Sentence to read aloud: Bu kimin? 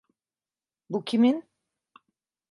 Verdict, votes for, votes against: accepted, 2, 0